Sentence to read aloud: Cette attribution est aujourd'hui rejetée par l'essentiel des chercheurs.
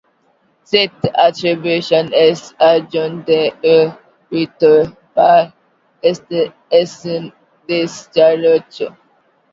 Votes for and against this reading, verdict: 0, 2, rejected